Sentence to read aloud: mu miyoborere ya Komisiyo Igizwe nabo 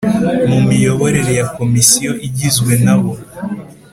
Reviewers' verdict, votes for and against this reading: accepted, 2, 0